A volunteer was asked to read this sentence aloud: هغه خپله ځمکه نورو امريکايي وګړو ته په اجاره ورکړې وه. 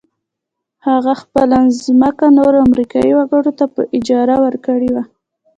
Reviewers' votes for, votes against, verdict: 2, 0, accepted